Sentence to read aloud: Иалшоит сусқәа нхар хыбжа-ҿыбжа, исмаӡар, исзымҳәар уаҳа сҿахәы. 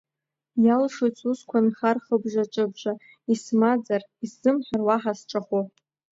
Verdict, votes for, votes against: accepted, 2, 0